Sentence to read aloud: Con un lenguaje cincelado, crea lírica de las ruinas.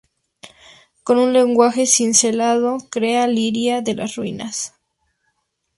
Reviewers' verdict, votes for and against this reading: accepted, 2, 0